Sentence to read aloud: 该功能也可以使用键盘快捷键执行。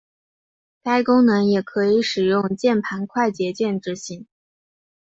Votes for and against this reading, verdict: 3, 0, accepted